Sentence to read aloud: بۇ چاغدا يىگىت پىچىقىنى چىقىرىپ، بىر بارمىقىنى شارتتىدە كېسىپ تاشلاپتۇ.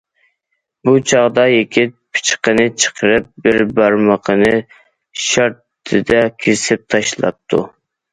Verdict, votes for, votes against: accepted, 2, 0